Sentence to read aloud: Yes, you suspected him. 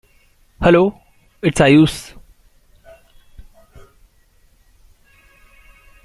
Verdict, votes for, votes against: rejected, 0, 2